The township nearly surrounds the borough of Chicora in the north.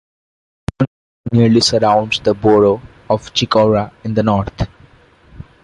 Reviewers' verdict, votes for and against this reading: rejected, 0, 2